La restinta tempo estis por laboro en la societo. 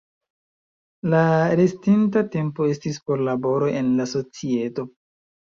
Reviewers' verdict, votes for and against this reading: accepted, 2, 0